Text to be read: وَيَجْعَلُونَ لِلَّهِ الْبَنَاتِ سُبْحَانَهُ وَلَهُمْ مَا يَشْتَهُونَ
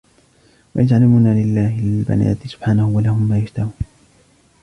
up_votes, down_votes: 1, 2